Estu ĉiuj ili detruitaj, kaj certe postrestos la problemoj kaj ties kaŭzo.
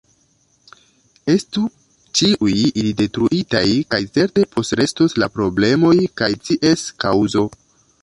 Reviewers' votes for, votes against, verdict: 2, 1, accepted